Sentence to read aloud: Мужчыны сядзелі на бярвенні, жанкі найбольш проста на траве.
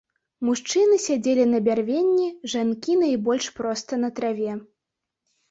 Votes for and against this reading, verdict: 3, 0, accepted